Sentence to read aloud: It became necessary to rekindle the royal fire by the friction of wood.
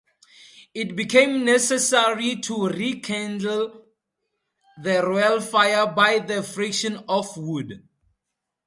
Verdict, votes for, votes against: accepted, 2, 0